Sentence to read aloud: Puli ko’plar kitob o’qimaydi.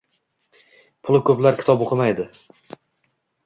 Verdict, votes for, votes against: accepted, 2, 0